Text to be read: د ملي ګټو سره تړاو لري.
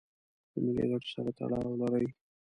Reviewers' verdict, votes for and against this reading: accepted, 2, 1